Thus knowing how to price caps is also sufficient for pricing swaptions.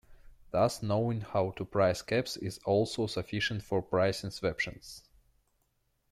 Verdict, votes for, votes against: rejected, 0, 2